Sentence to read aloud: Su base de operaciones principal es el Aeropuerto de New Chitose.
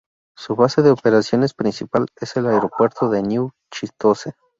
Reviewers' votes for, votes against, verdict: 0, 2, rejected